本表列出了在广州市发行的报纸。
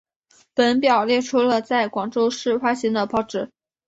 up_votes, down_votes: 2, 0